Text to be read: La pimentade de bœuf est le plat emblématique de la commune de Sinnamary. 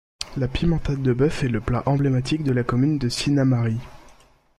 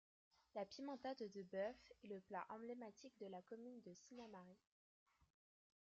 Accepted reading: first